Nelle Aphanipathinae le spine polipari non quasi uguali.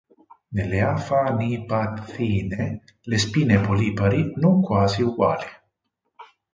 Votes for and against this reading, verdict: 4, 6, rejected